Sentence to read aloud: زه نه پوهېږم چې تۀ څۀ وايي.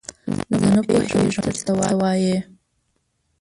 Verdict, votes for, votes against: rejected, 1, 3